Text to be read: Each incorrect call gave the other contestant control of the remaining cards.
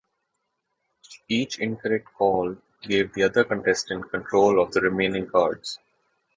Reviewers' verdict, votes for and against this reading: accepted, 2, 0